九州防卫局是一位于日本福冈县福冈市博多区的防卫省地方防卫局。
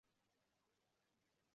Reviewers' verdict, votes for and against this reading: rejected, 0, 2